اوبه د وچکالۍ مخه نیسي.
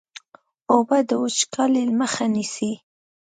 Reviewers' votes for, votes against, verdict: 2, 0, accepted